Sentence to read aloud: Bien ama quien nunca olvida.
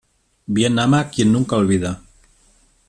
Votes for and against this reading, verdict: 2, 0, accepted